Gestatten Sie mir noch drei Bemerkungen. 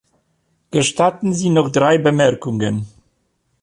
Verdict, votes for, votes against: rejected, 0, 2